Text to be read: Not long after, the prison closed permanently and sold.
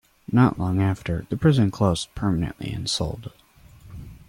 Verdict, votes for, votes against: accepted, 2, 0